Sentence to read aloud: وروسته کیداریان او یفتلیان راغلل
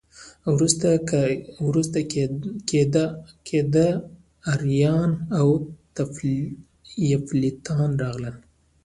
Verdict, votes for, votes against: rejected, 1, 2